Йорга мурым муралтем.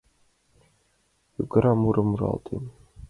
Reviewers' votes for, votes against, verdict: 2, 1, accepted